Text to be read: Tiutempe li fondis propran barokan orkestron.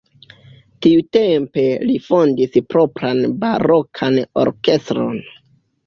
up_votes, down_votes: 2, 0